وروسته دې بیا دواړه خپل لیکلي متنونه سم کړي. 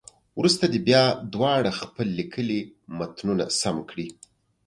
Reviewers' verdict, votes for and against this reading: accepted, 2, 0